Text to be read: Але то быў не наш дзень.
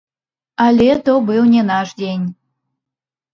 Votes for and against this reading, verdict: 0, 3, rejected